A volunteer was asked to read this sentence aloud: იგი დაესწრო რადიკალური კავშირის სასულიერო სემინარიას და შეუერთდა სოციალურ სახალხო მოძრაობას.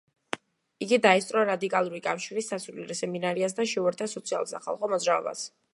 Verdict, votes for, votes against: accepted, 2, 1